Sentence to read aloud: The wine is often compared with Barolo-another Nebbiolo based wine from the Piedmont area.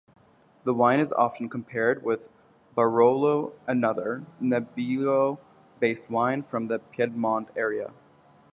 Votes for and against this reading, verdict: 0, 2, rejected